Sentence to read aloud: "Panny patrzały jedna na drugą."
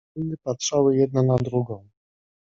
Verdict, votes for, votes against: rejected, 0, 2